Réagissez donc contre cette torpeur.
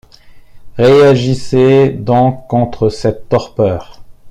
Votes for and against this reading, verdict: 2, 0, accepted